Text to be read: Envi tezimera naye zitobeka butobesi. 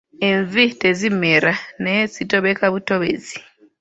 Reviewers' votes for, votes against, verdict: 1, 2, rejected